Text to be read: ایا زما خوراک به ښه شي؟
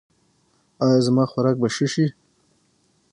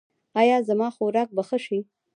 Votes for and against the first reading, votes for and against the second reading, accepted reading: 3, 6, 2, 1, second